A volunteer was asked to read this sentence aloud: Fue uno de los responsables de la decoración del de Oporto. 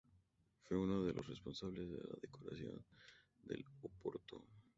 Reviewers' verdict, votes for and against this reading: rejected, 0, 2